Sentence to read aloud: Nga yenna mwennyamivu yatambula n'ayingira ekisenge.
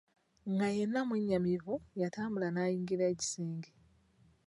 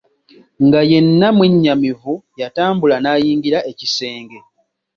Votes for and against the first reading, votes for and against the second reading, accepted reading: 0, 2, 2, 1, second